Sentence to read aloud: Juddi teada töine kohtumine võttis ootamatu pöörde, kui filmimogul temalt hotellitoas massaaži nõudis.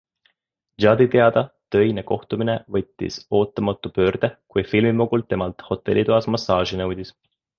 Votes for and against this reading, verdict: 2, 0, accepted